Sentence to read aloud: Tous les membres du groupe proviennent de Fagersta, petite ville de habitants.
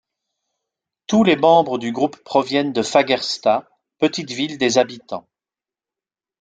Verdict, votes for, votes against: rejected, 1, 2